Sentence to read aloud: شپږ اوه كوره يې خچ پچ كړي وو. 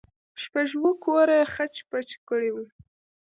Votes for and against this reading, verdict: 2, 0, accepted